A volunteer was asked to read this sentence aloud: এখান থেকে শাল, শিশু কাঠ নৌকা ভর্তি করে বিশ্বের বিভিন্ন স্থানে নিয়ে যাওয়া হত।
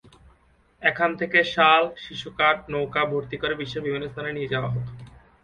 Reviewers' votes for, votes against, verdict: 1, 2, rejected